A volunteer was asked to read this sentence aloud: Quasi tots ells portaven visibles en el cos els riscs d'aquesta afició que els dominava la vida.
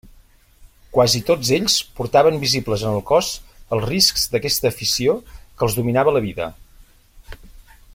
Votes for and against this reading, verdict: 3, 0, accepted